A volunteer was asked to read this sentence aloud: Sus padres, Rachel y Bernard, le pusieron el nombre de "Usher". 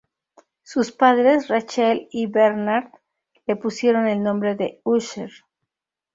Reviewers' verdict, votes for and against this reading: rejected, 0, 2